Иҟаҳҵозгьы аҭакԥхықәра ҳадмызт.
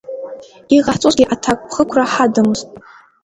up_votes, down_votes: 1, 2